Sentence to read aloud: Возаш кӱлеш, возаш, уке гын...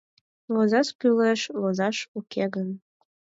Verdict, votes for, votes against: accepted, 4, 0